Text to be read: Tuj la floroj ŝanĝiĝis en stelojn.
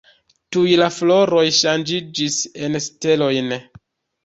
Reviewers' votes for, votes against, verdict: 0, 2, rejected